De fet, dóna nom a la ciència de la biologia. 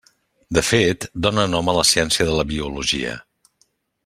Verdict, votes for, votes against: accepted, 3, 0